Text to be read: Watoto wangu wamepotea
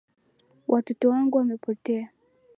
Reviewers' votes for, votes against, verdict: 3, 0, accepted